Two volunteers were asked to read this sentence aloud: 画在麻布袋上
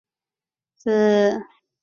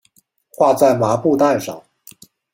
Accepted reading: second